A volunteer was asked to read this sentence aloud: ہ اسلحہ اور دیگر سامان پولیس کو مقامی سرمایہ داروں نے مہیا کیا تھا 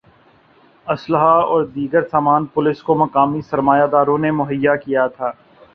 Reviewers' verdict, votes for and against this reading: accepted, 2, 0